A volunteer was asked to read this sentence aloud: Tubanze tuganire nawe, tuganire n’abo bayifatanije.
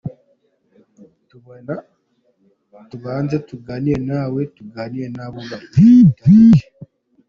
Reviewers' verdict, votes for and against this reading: rejected, 2, 3